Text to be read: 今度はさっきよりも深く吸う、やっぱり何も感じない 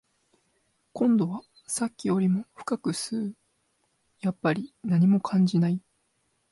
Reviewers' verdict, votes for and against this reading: accepted, 2, 0